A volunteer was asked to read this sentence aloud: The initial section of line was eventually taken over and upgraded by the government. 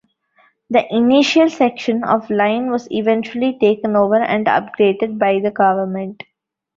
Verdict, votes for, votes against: accepted, 2, 0